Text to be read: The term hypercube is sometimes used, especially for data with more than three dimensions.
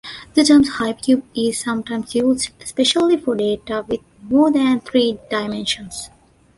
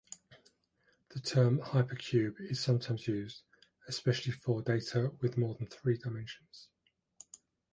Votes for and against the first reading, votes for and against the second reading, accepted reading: 1, 2, 2, 0, second